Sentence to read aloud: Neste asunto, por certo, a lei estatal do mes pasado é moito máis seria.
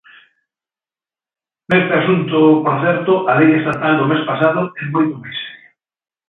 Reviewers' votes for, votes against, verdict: 0, 2, rejected